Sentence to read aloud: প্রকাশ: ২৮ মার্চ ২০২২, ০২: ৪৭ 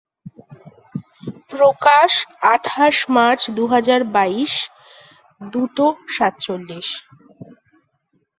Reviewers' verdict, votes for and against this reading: rejected, 0, 2